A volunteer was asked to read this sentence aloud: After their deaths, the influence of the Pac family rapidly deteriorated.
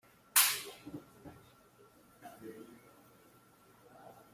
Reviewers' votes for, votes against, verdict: 0, 2, rejected